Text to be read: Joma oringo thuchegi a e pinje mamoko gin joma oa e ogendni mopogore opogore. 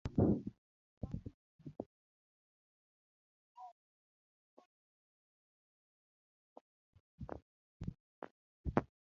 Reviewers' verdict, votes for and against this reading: rejected, 0, 2